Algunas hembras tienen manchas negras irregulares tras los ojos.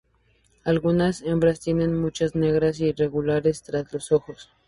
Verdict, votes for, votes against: rejected, 0, 2